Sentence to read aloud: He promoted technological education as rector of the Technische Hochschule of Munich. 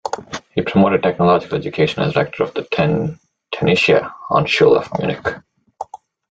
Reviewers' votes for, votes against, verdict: 0, 2, rejected